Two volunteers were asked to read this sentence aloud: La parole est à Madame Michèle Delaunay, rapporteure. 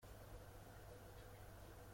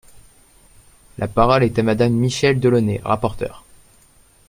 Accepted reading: second